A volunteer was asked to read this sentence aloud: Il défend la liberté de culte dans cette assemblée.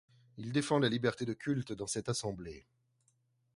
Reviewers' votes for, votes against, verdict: 2, 1, accepted